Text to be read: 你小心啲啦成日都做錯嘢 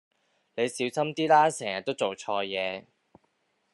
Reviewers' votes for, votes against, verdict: 2, 1, accepted